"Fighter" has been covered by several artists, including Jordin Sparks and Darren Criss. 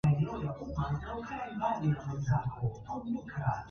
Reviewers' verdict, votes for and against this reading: rejected, 0, 2